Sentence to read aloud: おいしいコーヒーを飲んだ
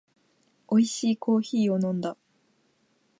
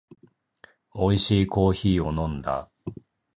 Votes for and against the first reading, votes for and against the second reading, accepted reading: 2, 0, 1, 2, first